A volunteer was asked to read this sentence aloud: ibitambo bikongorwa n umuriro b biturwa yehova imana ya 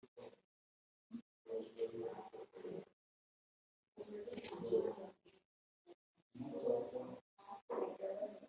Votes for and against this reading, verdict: 0, 2, rejected